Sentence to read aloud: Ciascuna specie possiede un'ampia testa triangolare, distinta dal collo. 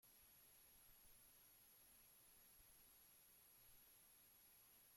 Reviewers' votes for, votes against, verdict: 0, 2, rejected